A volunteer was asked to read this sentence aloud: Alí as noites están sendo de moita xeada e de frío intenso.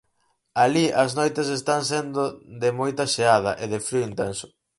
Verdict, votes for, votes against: accepted, 4, 0